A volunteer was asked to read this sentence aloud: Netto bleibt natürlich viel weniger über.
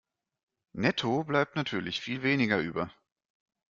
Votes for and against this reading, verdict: 2, 0, accepted